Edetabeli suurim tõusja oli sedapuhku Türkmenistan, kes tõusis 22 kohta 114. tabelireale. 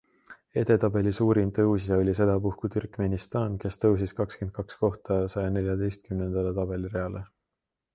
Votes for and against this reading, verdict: 0, 2, rejected